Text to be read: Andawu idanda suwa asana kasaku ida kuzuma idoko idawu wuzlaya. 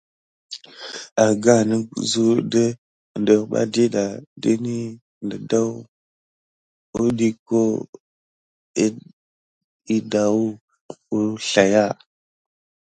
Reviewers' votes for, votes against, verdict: 3, 0, accepted